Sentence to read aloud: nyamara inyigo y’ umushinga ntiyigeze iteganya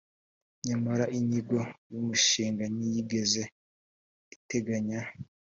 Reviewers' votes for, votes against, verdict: 5, 0, accepted